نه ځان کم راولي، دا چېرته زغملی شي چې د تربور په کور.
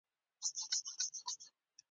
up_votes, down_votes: 0, 2